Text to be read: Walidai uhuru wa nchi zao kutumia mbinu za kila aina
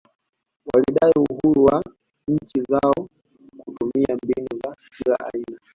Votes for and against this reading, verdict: 1, 2, rejected